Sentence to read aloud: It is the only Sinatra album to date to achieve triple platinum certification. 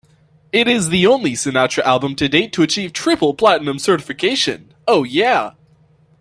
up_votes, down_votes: 0, 2